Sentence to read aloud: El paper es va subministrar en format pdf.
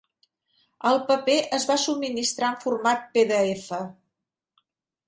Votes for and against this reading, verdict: 3, 0, accepted